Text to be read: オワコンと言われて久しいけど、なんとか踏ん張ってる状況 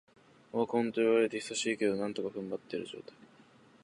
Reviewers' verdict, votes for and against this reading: rejected, 1, 2